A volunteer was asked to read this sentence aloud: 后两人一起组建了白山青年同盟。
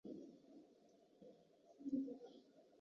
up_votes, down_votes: 0, 2